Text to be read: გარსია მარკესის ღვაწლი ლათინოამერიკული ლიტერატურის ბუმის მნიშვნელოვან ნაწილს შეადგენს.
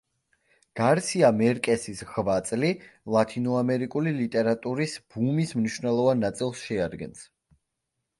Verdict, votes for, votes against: rejected, 1, 2